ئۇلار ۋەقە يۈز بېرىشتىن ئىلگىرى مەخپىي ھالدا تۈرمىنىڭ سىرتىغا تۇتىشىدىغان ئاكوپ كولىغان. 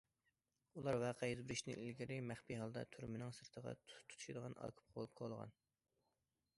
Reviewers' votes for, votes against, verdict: 0, 2, rejected